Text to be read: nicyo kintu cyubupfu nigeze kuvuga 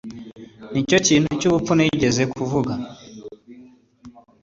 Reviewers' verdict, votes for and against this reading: accepted, 2, 0